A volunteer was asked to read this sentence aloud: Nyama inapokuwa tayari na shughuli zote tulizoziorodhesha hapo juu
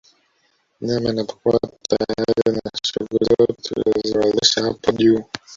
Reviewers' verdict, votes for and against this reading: rejected, 1, 2